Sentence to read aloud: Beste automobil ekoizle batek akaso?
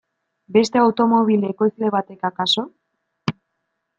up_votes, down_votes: 2, 0